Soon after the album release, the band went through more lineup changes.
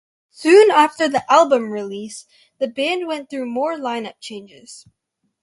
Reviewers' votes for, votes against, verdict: 2, 0, accepted